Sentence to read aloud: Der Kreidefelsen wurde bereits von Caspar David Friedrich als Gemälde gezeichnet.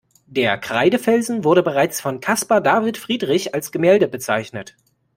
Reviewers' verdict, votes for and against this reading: rejected, 1, 2